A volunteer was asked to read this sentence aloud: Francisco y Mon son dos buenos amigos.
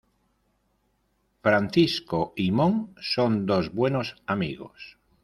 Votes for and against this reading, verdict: 3, 0, accepted